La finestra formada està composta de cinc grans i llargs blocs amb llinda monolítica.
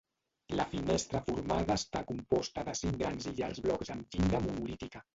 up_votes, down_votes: 0, 2